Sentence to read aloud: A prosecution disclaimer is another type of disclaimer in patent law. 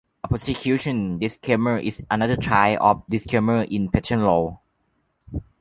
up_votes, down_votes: 1, 2